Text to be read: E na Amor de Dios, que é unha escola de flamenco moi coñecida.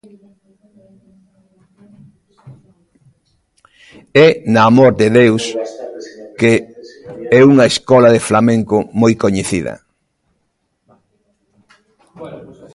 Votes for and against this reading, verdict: 0, 2, rejected